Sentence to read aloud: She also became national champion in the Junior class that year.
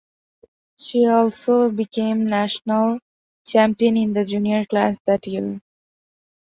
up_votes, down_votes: 2, 0